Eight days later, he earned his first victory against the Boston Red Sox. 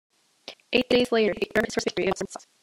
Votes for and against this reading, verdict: 1, 2, rejected